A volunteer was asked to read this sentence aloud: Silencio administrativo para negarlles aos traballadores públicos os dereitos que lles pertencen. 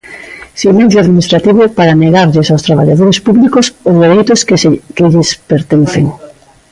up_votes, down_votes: 0, 2